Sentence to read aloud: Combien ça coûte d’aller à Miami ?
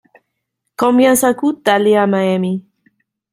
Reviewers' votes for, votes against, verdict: 2, 0, accepted